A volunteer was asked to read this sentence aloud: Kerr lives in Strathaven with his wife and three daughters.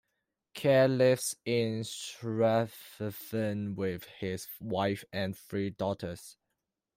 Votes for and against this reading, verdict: 0, 2, rejected